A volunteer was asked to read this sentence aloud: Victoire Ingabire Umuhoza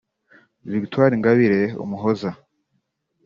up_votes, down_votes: 2, 1